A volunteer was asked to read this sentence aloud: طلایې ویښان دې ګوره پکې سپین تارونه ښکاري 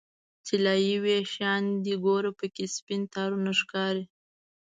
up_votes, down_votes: 2, 0